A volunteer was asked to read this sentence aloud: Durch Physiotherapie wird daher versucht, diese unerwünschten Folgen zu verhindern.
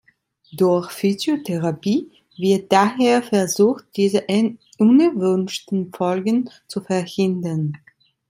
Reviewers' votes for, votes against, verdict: 0, 2, rejected